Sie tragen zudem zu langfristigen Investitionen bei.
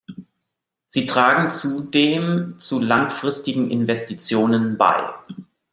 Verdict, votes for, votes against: accepted, 2, 0